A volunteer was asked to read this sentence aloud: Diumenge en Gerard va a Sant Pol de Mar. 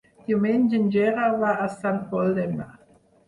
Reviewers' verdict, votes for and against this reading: rejected, 0, 4